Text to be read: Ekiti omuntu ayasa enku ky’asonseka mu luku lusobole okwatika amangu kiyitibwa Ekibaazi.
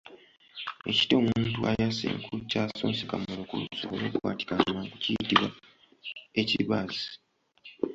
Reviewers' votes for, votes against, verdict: 1, 2, rejected